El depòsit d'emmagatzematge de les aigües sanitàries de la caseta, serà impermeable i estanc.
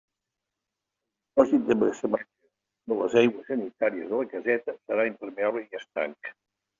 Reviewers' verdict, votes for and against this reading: rejected, 1, 2